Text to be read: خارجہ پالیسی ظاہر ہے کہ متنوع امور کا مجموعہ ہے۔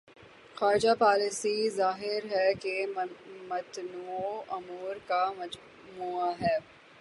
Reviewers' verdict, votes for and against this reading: rejected, 0, 3